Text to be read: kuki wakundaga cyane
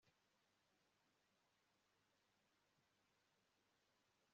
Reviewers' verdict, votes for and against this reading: rejected, 1, 2